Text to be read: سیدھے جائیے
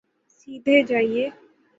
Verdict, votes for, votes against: rejected, 0, 3